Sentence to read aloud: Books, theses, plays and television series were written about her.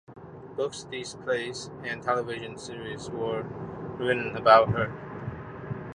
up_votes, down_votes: 0, 2